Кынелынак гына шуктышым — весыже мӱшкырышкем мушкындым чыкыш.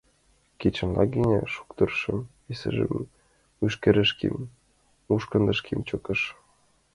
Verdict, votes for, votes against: rejected, 0, 2